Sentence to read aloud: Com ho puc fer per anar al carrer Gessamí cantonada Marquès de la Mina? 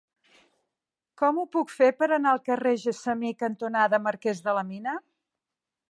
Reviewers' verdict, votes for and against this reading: accepted, 2, 0